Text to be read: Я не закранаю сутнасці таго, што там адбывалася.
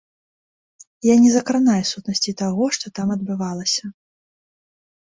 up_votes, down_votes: 2, 0